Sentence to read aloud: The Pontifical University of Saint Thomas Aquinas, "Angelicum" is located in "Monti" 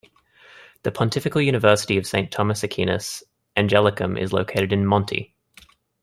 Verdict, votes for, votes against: accepted, 3, 2